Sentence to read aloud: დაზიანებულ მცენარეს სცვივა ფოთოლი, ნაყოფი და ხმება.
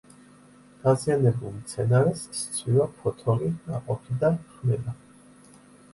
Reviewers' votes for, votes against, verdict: 2, 0, accepted